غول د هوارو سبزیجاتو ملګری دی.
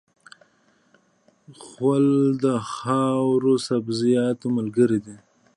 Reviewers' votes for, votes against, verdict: 1, 2, rejected